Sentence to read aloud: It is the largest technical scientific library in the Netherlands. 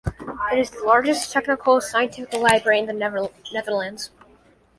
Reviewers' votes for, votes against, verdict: 0, 2, rejected